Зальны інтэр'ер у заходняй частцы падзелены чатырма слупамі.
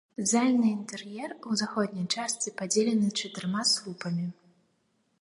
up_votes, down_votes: 1, 2